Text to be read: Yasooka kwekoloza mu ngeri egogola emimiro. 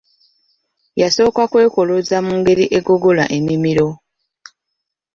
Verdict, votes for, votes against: accepted, 2, 0